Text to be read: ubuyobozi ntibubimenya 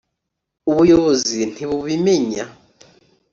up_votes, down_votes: 3, 0